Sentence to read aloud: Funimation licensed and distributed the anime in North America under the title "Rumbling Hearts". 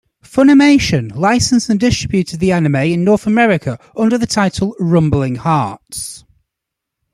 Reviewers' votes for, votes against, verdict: 2, 0, accepted